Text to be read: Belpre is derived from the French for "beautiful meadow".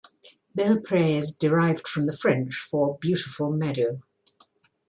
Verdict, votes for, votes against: accepted, 2, 0